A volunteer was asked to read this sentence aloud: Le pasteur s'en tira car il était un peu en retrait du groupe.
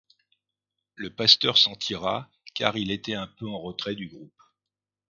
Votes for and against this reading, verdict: 2, 0, accepted